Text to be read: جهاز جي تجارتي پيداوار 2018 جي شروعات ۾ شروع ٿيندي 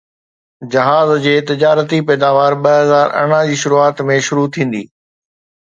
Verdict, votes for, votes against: rejected, 0, 2